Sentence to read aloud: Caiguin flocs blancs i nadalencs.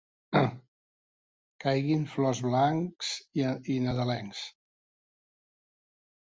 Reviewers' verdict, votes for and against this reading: rejected, 1, 3